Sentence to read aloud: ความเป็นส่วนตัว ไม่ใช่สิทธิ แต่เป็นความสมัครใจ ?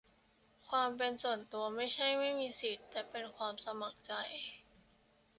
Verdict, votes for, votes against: rejected, 0, 2